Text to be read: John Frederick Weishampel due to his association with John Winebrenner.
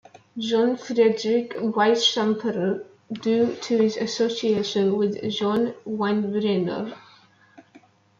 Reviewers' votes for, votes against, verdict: 2, 0, accepted